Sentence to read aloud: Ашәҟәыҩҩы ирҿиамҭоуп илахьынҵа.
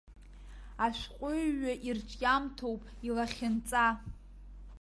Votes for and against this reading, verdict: 2, 0, accepted